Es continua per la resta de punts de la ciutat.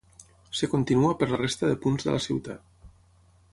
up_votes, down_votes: 0, 6